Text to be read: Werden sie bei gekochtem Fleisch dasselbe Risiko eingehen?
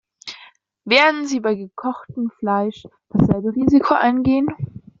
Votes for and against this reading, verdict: 2, 0, accepted